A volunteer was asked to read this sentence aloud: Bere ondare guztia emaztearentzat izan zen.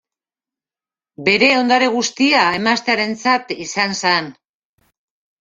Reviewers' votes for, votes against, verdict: 0, 2, rejected